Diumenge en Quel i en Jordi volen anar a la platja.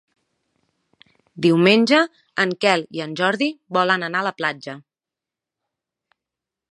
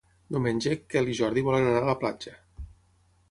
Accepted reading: first